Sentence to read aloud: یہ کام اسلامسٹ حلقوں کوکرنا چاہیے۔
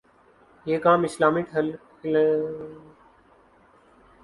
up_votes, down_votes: 0, 2